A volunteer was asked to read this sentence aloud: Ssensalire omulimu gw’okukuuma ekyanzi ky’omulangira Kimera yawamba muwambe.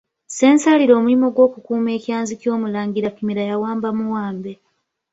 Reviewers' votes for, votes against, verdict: 2, 0, accepted